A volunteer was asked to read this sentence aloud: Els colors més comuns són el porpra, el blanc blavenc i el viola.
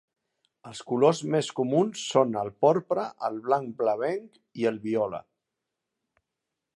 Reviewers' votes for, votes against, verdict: 2, 0, accepted